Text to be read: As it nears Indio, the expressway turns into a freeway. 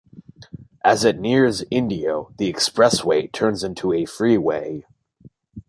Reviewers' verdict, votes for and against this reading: accepted, 2, 0